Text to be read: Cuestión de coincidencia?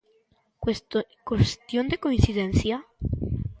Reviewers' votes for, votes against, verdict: 0, 3, rejected